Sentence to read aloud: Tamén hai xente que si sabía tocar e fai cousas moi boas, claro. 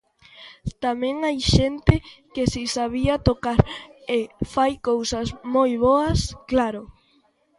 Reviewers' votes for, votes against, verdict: 2, 0, accepted